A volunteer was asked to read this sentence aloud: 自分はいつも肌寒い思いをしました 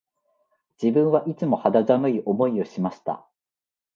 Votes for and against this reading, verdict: 4, 0, accepted